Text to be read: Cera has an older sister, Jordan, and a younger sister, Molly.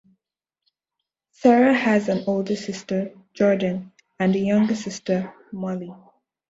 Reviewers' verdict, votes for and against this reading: accepted, 2, 0